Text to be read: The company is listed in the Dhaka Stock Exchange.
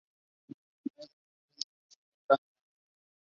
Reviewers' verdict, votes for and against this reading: rejected, 0, 2